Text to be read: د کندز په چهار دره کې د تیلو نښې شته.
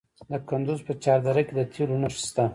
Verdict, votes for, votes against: rejected, 1, 2